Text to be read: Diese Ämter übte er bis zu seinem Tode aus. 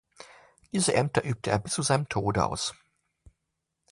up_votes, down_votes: 2, 0